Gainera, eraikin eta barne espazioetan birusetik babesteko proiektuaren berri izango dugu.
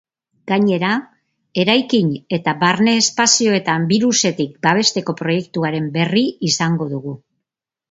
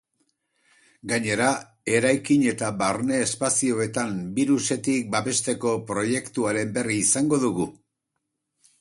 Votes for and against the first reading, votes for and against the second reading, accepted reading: 3, 0, 0, 2, first